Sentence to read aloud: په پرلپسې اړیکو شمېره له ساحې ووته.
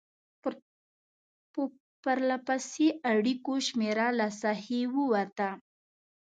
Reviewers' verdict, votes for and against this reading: rejected, 0, 2